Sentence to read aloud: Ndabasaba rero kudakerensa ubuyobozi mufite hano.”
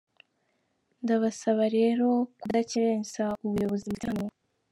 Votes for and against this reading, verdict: 3, 1, accepted